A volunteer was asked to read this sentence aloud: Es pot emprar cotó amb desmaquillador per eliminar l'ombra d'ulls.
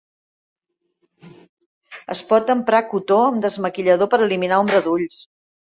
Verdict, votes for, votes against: rejected, 0, 2